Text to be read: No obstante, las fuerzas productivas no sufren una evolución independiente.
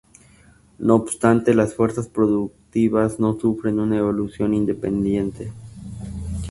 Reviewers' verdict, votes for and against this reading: accepted, 2, 0